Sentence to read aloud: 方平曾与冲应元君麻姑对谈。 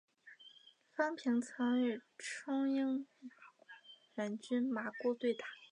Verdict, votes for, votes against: rejected, 1, 2